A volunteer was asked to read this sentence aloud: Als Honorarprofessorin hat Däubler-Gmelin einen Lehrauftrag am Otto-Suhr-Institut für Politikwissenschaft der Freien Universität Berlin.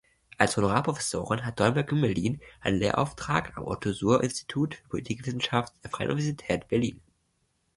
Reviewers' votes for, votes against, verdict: 1, 2, rejected